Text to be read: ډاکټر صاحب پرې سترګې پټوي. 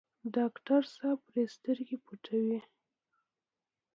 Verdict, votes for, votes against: accepted, 2, 1